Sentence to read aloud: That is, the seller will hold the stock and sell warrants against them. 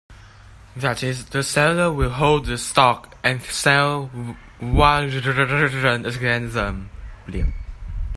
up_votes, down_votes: 0, 2